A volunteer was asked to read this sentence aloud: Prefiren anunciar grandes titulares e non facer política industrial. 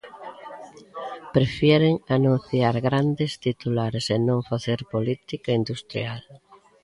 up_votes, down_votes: 0, 2